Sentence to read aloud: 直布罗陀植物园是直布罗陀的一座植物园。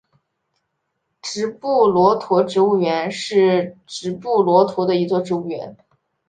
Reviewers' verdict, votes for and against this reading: accepted, 2, 0